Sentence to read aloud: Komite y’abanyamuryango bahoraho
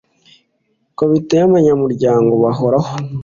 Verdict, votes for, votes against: accepted, 2, 0